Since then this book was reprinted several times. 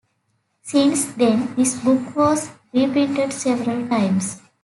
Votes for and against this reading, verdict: 3, 1, accepted